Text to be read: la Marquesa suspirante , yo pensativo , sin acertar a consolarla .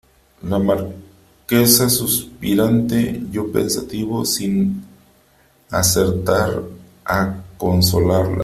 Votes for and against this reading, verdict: 0, 3, rejected